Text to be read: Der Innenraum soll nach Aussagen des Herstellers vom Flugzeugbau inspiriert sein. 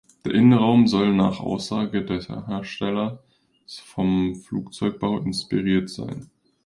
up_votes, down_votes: 0, 2